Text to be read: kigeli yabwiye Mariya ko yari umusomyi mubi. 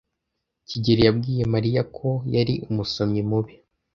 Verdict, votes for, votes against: accepted, 2, 0